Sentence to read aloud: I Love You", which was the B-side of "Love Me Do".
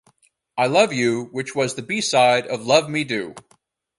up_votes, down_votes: 2, 2